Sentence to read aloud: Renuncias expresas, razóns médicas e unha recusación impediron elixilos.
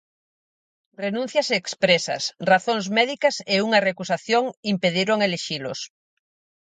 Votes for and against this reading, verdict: 2, 2, rejected